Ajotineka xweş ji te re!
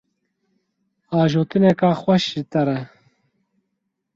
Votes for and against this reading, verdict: 4, 0, accepted